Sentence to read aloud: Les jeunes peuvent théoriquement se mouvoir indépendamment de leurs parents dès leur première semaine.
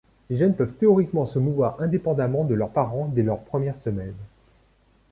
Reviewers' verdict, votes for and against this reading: accepted, 2, 0